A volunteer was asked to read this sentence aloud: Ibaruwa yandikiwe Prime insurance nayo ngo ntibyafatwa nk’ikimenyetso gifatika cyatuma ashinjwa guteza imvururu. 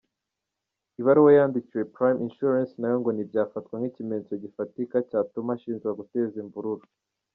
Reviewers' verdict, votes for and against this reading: accepted, 2, 1